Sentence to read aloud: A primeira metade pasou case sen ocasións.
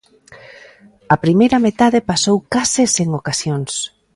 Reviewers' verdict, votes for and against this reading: rejected, 1, 2